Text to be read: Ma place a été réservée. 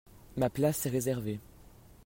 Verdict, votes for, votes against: rejected, 0, 2